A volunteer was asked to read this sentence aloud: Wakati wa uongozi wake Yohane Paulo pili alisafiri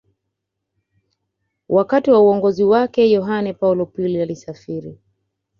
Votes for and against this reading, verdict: 2, 0, accepted